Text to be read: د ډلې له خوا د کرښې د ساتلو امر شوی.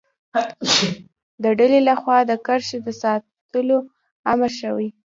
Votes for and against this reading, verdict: 2, 0, accepted